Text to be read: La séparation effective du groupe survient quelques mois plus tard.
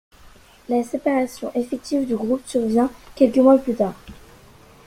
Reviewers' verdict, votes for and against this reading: accepted, 2, 1